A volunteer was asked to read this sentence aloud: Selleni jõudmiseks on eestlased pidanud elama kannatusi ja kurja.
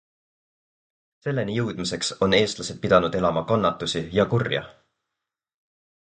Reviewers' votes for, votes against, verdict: 4, 0, accepted